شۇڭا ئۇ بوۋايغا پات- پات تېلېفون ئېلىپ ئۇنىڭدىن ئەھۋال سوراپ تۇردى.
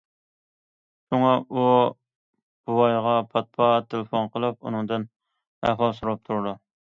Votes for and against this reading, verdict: 0, 2, rejected